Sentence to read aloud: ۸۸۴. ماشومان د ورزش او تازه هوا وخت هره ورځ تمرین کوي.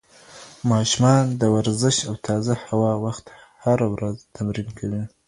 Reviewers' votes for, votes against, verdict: 0, 2, rejected